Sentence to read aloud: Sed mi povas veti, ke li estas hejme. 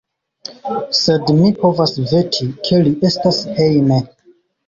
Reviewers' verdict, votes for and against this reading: accepted, 2, 0